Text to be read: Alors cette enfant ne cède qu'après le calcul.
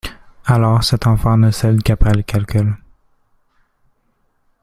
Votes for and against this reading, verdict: 2, 0, accepted